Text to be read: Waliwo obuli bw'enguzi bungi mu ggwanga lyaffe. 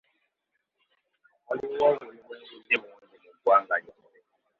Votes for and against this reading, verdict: 0, 2, rejected